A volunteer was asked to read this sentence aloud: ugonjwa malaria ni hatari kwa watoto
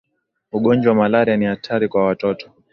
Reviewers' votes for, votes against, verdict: 2, 0, accepted